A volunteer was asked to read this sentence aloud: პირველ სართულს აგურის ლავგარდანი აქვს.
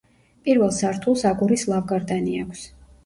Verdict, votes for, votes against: accepted, 2, 0